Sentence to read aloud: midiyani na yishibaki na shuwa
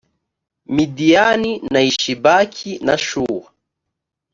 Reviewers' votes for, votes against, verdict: 2, 0, accepted